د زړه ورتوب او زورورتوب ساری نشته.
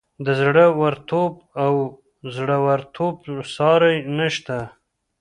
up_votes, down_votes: 0, 2